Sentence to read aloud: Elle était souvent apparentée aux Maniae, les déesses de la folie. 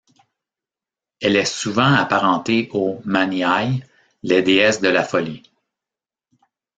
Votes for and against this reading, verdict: 0, 2, rejected